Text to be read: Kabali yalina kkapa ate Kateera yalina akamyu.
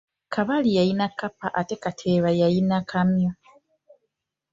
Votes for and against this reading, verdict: 1, 2, rejected